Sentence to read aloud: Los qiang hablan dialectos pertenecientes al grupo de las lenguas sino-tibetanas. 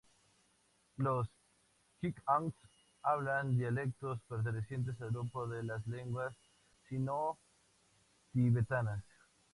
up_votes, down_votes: 2, 0